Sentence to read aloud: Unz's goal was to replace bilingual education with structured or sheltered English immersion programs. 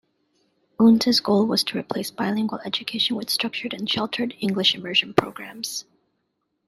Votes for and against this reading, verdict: 1, 2, rejected